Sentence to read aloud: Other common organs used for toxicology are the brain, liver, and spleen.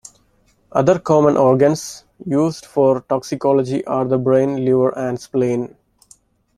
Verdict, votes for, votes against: accepted, 2, 0